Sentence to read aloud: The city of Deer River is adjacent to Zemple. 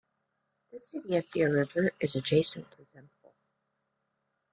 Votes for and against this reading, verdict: 0, 2, rejected